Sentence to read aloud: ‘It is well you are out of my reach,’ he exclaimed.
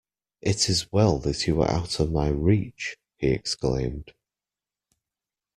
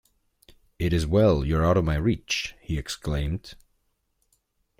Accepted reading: second